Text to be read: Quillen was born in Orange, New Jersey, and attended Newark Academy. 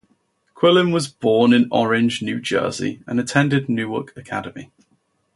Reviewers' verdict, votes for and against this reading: accepted, 2, 0